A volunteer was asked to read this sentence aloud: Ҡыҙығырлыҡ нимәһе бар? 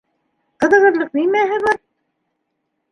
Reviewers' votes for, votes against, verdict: 2, 1, accepted